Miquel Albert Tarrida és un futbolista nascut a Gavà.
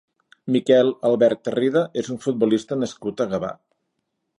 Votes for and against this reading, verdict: 3, 0, accepted